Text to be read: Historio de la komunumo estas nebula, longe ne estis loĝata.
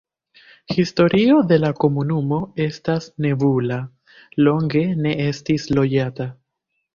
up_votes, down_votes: 1, 2